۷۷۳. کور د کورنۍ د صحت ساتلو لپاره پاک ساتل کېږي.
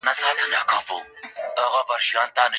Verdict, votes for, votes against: rejected, 0, 2